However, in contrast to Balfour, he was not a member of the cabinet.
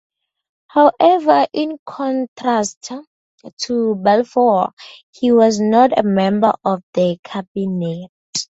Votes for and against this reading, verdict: 0, 2, rejected